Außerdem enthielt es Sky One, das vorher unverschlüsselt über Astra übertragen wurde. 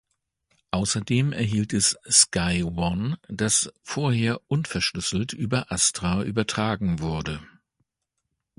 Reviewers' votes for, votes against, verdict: 1, 2, rejected